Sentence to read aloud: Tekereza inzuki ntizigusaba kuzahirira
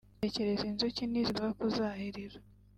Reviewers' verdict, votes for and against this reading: rejected, 1, 2